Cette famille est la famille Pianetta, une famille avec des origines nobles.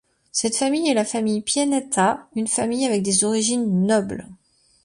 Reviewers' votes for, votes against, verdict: 2, 0, accepted